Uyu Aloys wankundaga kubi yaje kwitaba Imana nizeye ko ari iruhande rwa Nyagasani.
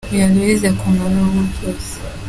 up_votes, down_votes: 0, 2